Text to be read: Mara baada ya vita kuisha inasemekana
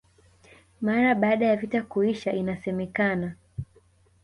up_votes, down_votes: 0, 2